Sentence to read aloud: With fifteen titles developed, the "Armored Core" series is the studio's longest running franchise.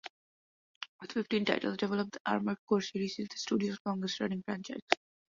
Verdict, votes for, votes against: accepted, 2, 1